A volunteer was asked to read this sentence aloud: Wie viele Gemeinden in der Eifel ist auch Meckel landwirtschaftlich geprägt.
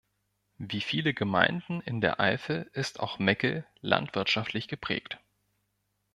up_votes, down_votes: 1, 2